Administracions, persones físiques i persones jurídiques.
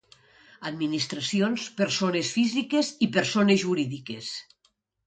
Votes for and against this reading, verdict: 2, 0, accepted